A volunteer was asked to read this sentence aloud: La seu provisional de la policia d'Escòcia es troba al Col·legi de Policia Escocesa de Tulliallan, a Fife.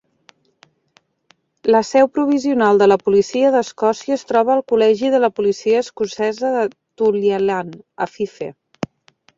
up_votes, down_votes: 2, 1